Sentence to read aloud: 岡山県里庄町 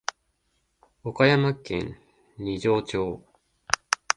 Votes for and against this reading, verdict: 0, 2, rejected